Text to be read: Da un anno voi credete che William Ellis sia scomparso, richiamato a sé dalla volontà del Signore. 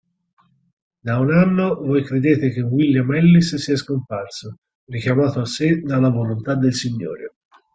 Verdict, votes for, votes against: accepted, 4, 0